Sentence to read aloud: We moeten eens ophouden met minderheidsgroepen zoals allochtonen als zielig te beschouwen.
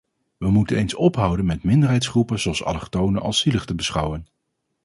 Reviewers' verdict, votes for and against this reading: accepted, 4, 0